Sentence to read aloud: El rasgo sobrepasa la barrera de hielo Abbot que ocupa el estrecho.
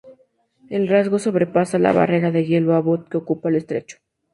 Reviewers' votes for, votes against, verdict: 2, 0, accepted